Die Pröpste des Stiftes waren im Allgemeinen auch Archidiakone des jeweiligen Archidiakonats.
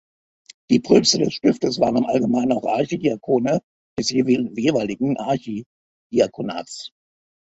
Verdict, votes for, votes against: rejected, 1, 2